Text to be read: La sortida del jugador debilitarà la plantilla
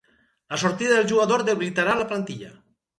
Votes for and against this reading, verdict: 4, 0, accepted